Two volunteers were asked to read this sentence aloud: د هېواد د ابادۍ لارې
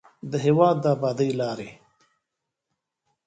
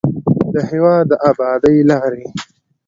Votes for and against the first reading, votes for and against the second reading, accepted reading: 1, 2, 2, 1, second